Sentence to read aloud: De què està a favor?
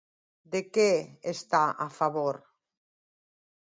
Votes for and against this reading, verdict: 2, 0, accepted